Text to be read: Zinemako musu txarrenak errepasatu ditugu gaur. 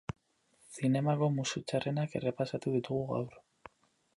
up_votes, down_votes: 4, 0